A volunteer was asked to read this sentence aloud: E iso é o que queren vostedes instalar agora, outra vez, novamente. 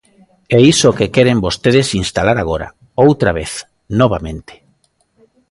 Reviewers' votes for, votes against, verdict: 1, 2, rejected